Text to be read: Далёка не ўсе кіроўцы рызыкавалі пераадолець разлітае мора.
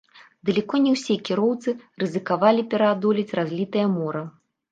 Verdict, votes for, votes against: rejected, 1, 2